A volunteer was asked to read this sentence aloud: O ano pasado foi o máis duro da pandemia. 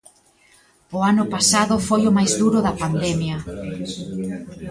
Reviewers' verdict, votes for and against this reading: rejected, 0, 3